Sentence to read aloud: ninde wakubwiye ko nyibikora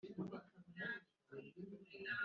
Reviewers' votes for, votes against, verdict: 0, 2, rejected